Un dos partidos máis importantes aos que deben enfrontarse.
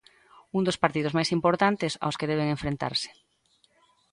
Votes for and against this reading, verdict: 0, 2, rejected